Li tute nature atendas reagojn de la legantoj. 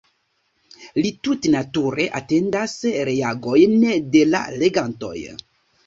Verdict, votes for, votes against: accepted, 2, 0